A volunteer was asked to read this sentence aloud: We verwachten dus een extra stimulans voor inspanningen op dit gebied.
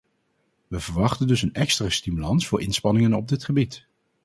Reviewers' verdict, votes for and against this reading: accepted, 4, 0